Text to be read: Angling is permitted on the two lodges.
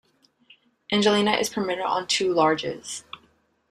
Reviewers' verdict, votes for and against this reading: rejected, 0, 2